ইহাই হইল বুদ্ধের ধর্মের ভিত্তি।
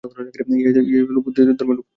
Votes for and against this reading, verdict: 0, 2, rejected